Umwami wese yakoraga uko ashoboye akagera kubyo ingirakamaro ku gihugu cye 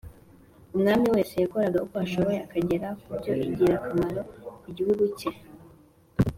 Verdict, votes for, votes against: accepted, 2, 0